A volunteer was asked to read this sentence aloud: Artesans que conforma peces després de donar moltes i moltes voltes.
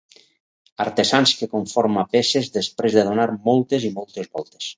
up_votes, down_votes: 4, 0